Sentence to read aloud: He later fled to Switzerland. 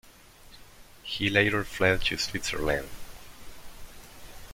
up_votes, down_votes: 1, 2